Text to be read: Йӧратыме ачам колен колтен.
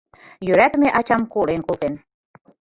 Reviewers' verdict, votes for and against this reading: rejected, 1, 2